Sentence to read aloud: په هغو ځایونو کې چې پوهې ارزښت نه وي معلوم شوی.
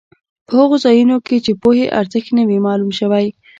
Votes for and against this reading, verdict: 2, 1, accepted